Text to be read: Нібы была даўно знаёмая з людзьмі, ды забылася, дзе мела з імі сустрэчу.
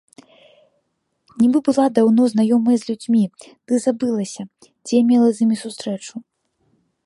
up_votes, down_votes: 2, 0